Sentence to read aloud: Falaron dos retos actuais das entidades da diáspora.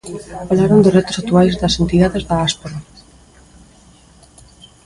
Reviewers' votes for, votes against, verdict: 0, 2, rejected